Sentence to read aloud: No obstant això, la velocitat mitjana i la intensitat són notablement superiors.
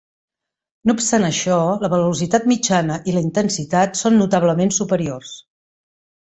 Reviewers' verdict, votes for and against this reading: accepted, 2, 0